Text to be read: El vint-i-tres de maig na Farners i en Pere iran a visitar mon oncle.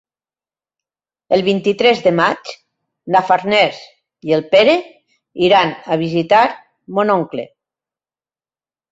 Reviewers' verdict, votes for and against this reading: rejected, 1, 2